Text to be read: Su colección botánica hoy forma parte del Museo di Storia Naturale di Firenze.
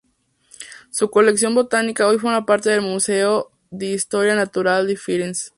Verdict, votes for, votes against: accepted, 2, 0